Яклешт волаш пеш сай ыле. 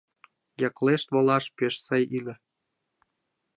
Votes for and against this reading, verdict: 1, 2, rejected